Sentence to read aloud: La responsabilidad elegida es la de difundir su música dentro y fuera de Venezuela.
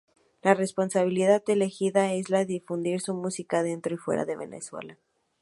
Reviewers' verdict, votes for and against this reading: accepted, 2, 0